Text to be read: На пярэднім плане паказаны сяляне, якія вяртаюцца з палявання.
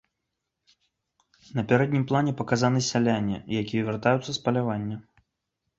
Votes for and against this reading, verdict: 3, 1, accepted